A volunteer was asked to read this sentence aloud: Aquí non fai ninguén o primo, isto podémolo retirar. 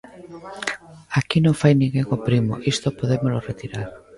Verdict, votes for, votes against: accepted, 2, 1